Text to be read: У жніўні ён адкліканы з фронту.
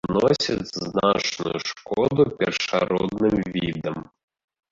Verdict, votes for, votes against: rejected, 0, 2